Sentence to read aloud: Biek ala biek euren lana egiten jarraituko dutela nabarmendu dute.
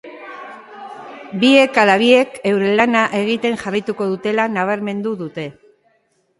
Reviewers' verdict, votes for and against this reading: rejected, 0, 3